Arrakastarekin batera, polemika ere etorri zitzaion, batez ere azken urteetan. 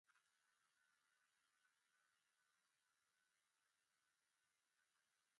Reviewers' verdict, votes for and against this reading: rejected, 0, 2